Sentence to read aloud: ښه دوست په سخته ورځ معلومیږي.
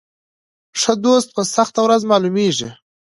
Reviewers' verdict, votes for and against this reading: accepted, 2, 0